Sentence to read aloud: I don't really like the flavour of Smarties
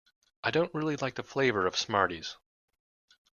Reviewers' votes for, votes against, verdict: 3, 0, accepted